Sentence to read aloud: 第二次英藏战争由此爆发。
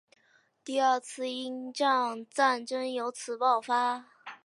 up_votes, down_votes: 2, 0